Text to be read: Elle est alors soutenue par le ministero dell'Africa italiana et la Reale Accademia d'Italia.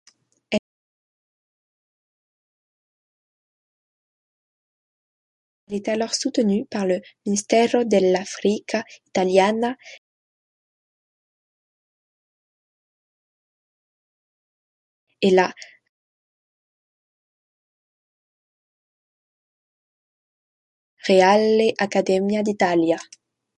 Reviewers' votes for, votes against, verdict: 0, 2, rejected